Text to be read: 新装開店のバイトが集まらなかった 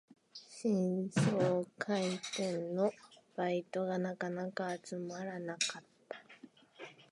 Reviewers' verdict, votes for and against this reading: rejected, 0, 6